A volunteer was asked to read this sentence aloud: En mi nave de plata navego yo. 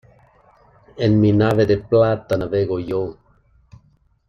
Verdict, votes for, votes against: accepted, 2, 0